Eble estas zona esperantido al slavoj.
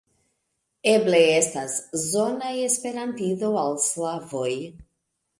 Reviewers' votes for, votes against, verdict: 2, 0, accepted